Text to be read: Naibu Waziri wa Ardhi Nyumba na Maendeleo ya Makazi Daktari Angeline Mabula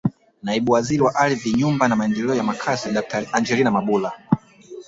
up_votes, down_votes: 4, 1